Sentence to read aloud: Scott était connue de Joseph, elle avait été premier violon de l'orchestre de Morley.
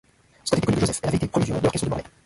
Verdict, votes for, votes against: rejected, 0, 2